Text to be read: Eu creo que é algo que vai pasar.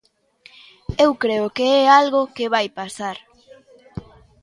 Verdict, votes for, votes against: accepted, 2, 1